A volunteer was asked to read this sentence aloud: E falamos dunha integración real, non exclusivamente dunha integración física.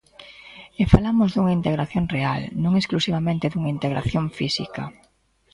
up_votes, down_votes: 2, 0